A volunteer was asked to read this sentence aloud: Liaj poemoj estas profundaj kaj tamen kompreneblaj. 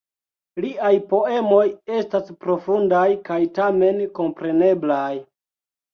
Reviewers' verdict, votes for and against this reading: accepted, 2, 0